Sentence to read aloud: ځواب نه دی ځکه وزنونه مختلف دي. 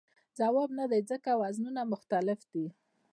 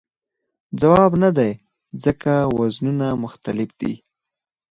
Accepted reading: second